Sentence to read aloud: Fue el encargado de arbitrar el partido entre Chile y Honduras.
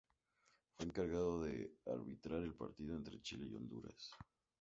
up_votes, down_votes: 2, 0